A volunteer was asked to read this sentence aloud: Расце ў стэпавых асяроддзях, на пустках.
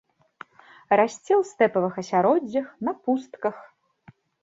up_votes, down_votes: 2, 0